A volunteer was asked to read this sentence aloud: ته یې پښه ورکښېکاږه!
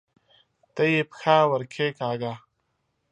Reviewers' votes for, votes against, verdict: 2, 0, accepted